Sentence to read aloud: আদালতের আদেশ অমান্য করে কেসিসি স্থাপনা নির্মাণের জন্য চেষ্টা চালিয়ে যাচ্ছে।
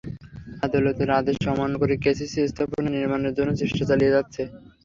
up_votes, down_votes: 0, 3